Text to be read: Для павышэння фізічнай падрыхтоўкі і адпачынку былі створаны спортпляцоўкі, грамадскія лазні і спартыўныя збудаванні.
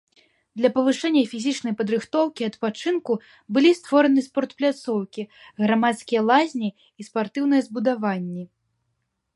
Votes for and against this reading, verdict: 2, 0, accepted